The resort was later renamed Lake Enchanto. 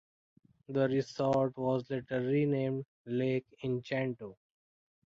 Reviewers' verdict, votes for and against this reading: rejected, 1, 2